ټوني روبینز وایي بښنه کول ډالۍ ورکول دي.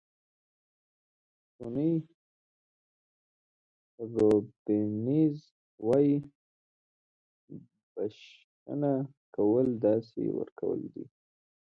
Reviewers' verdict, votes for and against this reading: rejected, 1, 3